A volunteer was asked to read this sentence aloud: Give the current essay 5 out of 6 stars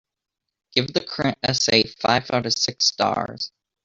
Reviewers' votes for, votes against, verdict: 0, 2, rejected